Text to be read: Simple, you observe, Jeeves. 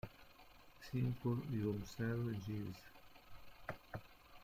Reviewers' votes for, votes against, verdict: 0, 2, rejected